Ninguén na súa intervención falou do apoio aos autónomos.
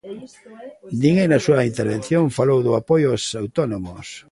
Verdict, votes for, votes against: rejected, 1, 2